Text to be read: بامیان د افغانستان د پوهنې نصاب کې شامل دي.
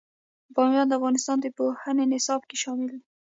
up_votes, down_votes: 2, 0